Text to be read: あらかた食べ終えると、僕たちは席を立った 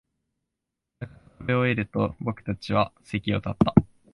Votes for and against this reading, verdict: 1, 3, rejected